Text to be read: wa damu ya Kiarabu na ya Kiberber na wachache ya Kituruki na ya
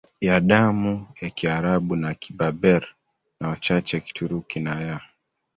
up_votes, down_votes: 0, 2